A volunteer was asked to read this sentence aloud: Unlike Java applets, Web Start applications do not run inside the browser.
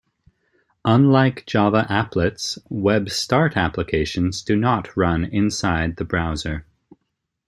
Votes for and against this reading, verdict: 2, 0, accepted